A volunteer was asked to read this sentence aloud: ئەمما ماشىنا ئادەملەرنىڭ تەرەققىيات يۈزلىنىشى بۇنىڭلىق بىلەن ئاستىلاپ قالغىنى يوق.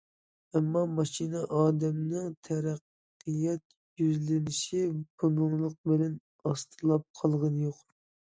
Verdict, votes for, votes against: rejected, 0, 2